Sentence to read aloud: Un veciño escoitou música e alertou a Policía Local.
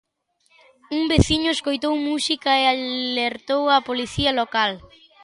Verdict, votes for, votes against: accepted, 2, 0